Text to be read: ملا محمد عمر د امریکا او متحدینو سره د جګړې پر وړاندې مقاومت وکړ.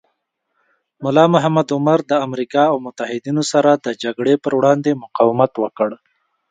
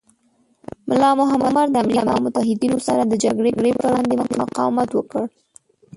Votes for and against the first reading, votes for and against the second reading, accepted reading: 2, 0, 1, 2, first